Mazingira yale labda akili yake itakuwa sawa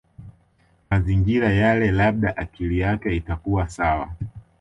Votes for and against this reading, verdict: 2, 0, accepted